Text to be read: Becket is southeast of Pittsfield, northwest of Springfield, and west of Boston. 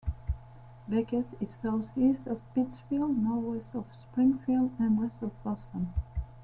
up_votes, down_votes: 2, 1